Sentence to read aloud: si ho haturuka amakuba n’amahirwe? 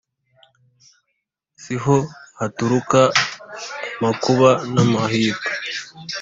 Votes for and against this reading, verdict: 2, 0, accepted